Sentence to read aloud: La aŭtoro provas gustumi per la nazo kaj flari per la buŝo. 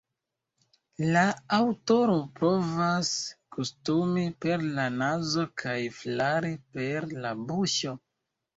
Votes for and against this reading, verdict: 2, 0, accepted